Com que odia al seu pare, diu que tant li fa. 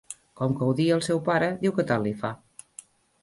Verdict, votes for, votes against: accepted, 2, 0